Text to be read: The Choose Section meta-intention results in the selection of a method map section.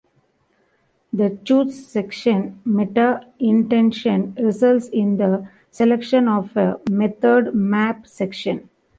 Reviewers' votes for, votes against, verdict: 2, 0, accepted